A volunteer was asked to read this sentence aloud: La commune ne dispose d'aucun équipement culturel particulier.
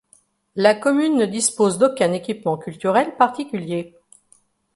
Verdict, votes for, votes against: accepted, 2, 0